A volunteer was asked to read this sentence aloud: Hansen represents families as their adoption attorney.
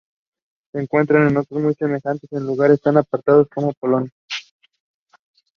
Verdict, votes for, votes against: rejected, 1, 2